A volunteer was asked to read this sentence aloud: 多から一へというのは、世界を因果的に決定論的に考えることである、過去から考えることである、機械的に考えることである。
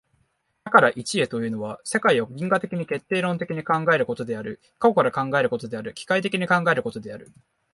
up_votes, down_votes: 6, 0